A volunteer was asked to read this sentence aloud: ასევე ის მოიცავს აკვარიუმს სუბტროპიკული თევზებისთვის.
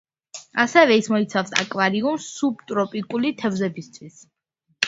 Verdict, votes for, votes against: accepted, 2, 0